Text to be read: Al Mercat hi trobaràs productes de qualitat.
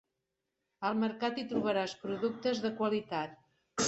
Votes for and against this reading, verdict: 3, 0, accepted